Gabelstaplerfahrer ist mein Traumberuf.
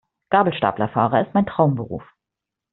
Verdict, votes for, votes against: accepted, 2, 0